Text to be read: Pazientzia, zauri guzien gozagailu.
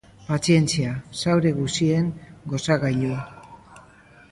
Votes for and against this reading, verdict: 3, 0, accepted